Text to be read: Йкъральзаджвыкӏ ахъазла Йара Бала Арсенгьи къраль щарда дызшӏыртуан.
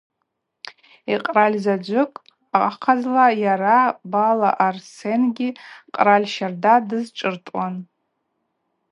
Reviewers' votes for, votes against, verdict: 4, 0, accepted